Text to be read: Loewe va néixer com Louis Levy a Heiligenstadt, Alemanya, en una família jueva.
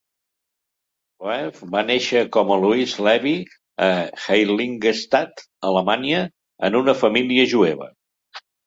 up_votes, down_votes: 1, 2